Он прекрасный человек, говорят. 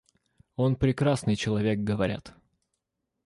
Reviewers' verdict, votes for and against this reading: accepted, 2, 0